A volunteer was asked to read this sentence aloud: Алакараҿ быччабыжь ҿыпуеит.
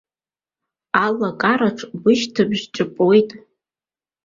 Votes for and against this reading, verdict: 2, 0, accepted